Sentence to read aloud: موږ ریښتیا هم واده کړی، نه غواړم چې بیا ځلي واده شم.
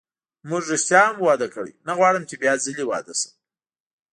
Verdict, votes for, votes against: accepted, 2, 0